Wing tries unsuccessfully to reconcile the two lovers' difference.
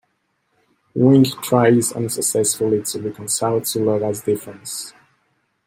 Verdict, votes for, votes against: accepted, 2, 1